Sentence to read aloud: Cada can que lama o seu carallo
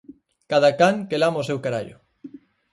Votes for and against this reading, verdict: 4, 0, accepted